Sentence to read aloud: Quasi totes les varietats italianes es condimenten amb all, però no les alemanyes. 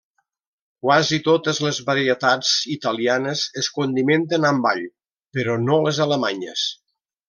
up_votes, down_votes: 3, 0